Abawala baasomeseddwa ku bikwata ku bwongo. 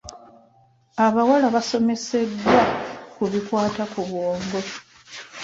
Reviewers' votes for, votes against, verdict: 0, 2, rejected